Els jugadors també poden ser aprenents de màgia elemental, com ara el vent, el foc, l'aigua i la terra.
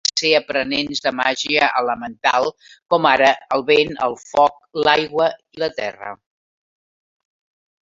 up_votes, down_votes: 1, 2